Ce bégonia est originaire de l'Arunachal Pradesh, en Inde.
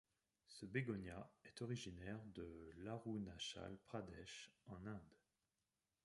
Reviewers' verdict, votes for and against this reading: accepted, 2, 0